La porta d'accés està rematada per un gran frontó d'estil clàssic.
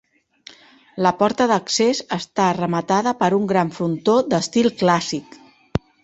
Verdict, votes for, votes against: accepted, 2, 0